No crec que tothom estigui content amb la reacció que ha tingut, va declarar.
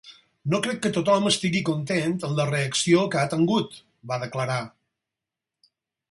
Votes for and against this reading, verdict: 2, 4, rejected